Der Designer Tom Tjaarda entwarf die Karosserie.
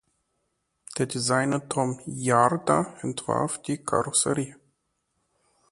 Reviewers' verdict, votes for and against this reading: rejected, 0, 2